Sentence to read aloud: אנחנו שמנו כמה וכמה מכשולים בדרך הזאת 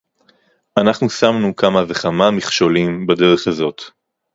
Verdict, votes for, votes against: accepted, 4, 0